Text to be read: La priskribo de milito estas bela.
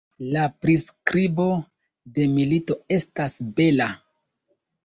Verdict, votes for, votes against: accepted, 2, 0